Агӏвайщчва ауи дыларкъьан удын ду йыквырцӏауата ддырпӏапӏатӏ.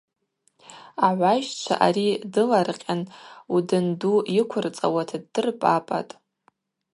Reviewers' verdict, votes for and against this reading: rejected, 0, 2